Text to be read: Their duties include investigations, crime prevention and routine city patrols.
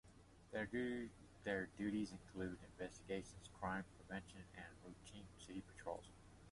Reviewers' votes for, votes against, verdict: 0, 2, rejected